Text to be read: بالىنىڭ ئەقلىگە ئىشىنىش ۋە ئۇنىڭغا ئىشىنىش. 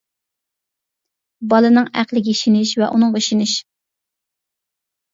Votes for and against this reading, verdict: 2, 0, accepted